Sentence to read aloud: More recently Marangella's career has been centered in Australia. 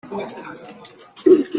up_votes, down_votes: 0, 2